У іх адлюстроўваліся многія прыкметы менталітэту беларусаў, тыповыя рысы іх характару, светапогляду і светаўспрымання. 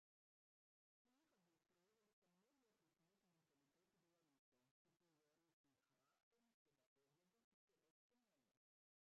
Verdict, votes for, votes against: rejected, 0, 2